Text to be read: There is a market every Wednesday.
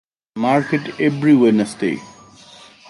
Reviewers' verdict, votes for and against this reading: rejected, 0, 2